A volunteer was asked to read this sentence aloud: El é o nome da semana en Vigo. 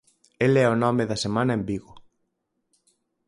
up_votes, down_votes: 4, 0